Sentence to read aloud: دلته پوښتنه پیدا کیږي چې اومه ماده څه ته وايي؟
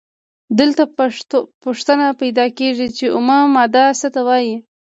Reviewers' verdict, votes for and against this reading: rejected, 1, 2